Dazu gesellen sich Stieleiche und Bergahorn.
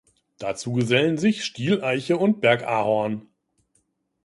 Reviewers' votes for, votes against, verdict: 2, 0, accepted